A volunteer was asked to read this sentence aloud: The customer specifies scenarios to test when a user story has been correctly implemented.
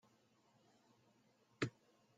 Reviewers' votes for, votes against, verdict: 0, 2, rejected